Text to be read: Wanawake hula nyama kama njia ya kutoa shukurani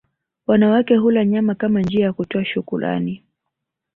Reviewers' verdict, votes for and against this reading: rejected, 0, 2